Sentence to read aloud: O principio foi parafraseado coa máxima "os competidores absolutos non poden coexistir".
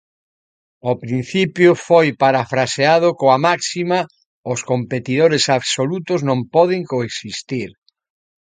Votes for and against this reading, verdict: 2, 0, accepted